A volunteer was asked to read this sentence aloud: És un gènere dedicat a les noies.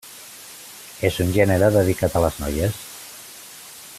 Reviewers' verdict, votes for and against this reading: accepted, 3, 0